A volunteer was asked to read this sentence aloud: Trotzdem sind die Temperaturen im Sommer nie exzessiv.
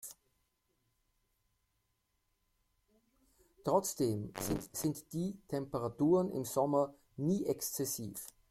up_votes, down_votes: 0, 2